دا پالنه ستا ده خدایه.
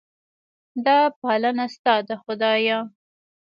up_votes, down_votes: 1, 2